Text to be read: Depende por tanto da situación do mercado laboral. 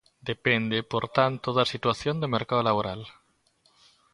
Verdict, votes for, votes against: accepted, 2, 0